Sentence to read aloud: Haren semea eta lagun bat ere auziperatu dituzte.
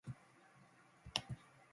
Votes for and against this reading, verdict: 0, 2, rejected